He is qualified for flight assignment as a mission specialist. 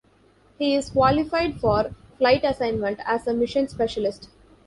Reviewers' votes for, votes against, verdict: 2, 1, accepted